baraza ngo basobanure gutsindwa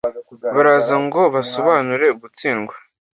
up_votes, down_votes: 2, 0